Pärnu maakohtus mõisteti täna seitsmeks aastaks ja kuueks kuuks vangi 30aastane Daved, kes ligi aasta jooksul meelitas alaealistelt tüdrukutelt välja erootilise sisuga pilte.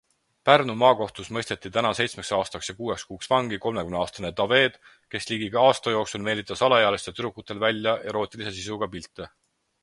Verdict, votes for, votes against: rejected, 0, 2